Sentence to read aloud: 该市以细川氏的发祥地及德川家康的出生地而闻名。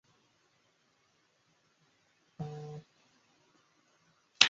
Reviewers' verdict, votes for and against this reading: rejected, 2, 5